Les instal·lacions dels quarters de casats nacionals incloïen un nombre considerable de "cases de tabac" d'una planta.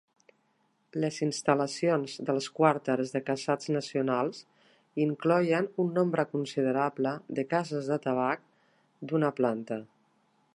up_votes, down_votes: 1, 2